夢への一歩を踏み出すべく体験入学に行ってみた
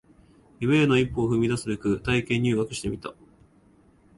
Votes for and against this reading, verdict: 1, 2, rejected